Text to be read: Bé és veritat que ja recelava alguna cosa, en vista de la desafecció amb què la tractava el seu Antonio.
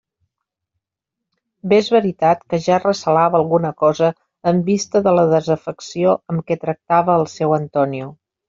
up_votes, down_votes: 0, 2